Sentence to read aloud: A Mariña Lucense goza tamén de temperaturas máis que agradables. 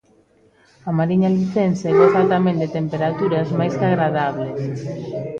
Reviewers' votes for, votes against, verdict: 1, 2, rejected